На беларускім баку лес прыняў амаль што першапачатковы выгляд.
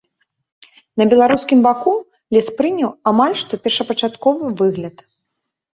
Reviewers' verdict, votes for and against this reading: accepted, 2, 1